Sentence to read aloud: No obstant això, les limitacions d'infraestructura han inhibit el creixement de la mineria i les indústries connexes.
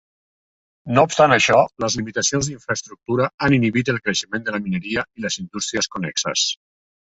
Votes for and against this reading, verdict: 2, 0, accepted